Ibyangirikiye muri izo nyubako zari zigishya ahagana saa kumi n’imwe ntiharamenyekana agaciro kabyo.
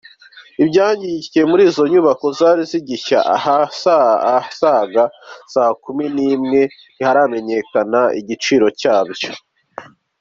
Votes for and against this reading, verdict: 1, 2, rejected